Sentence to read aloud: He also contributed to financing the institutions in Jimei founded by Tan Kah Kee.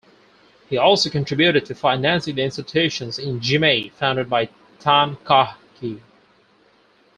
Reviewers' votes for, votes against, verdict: 4, 0, accepted